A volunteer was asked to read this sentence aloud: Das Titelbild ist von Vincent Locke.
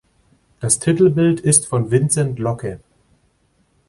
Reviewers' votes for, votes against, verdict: 2, 0, accepted